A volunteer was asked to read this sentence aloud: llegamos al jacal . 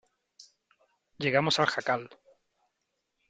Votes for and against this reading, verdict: 3, 0, accepted